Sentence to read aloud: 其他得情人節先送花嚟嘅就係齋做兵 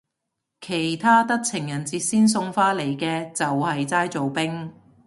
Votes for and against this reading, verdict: 2, 0, accepted